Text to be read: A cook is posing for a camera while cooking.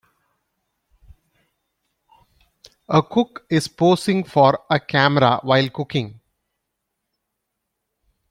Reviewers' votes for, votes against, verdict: 2, 0, accepted